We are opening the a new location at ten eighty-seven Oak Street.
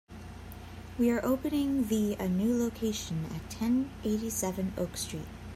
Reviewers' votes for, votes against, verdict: 2, 0, accepted